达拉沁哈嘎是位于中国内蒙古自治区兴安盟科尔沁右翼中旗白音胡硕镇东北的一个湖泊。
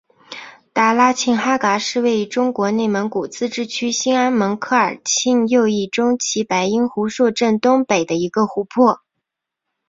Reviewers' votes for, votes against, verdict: 3, 1, accepted